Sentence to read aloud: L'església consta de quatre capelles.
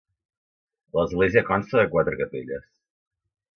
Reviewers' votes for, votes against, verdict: 2, 1, accepted